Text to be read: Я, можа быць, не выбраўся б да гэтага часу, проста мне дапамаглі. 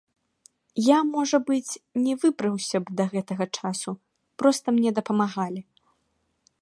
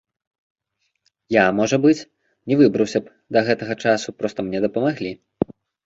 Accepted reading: second